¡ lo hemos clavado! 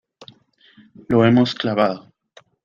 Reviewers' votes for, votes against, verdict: 1, 2, rejected